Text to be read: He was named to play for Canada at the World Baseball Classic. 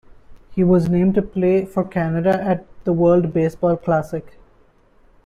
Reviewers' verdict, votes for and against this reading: accepted, 2, 0